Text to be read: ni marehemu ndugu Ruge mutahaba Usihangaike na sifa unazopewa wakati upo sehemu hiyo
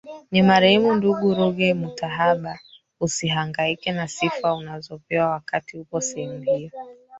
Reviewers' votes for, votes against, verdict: 1, 3, rejected